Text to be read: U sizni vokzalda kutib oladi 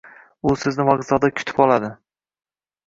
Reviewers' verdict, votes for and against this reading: rejected, 1, 2